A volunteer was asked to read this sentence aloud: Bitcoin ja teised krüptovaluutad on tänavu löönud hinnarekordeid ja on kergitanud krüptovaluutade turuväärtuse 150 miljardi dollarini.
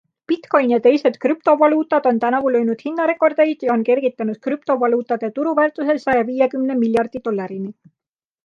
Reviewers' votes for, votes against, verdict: 0, 2, rejected